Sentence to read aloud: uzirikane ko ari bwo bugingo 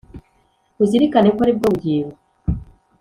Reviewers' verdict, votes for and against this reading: accepted, 2, 0